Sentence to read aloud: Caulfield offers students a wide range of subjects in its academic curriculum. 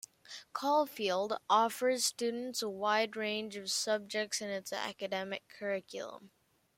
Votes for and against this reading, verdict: 2, 0, accepted